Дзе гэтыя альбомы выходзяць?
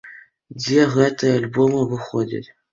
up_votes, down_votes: 2, 0